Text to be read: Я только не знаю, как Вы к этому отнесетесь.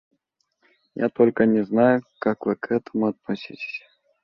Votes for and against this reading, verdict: 2, 1, accepted